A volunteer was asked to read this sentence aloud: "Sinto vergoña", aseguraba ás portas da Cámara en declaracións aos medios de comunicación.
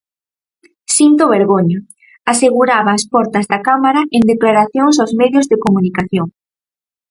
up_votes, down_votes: 4, 0